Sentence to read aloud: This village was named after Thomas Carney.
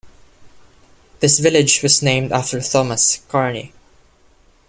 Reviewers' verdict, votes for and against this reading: rejected, 1, 2